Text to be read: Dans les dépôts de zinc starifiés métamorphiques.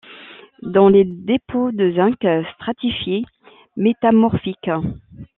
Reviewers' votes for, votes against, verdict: 0, 2, rejected